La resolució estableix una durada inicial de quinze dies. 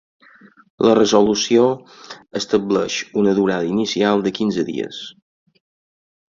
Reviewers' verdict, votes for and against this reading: accepted, 4, 0